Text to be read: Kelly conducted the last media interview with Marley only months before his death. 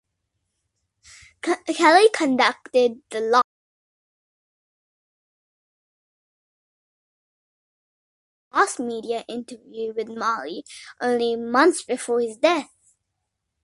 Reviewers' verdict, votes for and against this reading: rejected, 0, 2